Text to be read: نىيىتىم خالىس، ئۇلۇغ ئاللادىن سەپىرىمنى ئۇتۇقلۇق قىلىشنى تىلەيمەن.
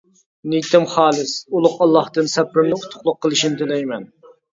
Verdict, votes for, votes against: rejected, 0, 2